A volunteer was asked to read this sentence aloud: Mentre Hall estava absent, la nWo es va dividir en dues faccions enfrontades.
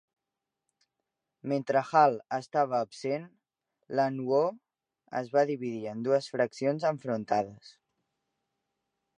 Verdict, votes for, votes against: accepted, 2, 0